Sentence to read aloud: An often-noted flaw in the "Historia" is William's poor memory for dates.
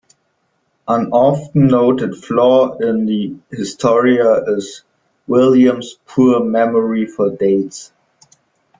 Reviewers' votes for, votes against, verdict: 2, 1, accepted